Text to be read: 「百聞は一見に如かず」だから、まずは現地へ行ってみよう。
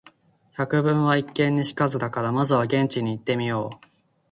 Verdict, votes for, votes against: rejected, 0, 2